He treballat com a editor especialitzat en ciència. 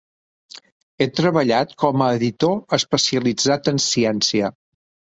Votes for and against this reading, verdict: 3, 0, accepted